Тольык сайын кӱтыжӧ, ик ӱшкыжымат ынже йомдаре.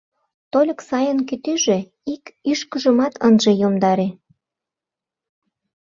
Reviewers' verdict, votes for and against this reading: rejected, 0, 2